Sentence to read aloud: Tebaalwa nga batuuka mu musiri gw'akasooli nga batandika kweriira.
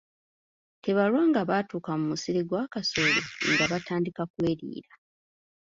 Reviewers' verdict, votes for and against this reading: rejected, 1, 2